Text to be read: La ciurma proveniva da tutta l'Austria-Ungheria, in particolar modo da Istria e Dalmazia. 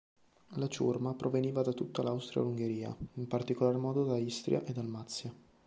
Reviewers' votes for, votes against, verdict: 2, 0, accepted